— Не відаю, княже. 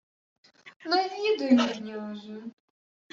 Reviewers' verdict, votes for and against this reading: rejected, 1, 2